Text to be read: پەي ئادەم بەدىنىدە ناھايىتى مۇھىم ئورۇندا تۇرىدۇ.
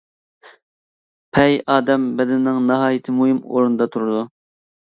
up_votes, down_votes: 1, 2